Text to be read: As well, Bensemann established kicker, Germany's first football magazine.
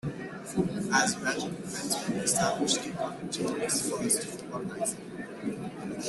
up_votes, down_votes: 0, 2